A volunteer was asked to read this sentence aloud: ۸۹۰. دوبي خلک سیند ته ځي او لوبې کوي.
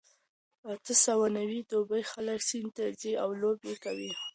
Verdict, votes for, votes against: rejected, 0, 2